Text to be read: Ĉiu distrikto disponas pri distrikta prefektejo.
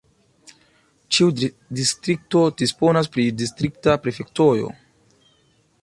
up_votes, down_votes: 0, 2